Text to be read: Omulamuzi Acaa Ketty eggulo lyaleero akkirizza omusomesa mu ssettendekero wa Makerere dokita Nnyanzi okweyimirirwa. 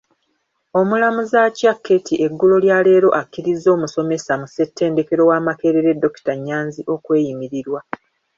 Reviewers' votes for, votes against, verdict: 2, 1, accepted